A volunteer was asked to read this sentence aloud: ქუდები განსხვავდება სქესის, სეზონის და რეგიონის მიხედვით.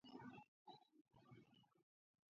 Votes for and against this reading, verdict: 0, 2, rejected